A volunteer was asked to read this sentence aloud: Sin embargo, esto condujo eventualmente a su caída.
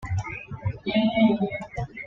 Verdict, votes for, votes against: rejected, 1, 2